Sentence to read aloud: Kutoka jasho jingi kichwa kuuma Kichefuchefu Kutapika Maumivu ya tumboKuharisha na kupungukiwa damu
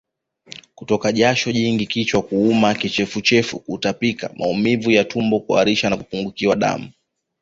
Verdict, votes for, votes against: accepted, 2, 0